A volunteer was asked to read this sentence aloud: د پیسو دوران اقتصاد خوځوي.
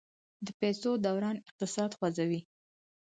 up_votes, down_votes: 4, 0